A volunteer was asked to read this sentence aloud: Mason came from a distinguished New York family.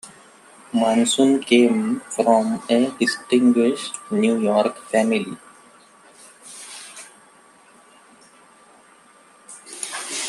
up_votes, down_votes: 2, 0